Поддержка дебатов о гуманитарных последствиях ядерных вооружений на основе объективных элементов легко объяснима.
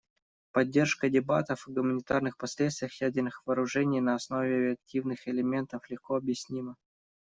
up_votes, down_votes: 1, 2